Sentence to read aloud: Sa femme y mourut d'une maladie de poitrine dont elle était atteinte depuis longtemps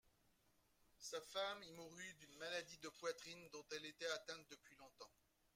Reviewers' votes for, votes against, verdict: 0, 2, rejected